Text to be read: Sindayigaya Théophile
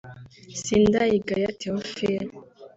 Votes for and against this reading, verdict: 2, 0, accepted